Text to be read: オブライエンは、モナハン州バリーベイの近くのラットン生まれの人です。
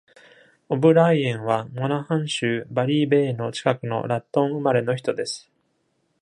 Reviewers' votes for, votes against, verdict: 2, 0, accepted